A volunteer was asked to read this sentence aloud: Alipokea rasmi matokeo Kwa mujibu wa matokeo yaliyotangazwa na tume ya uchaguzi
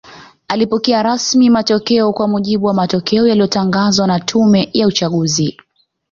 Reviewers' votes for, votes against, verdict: 2, 0, accepted